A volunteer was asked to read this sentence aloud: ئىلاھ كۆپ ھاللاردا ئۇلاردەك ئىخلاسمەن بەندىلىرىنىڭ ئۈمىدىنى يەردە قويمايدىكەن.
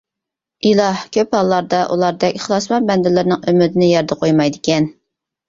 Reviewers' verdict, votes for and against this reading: accepted, 2, 0